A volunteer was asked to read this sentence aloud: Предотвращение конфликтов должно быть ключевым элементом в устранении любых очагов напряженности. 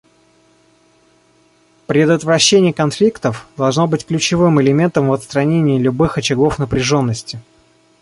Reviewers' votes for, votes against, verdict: 1, 2, rejected